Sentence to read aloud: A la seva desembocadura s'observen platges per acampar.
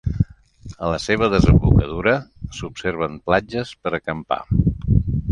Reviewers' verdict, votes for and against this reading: accepted, 2, 0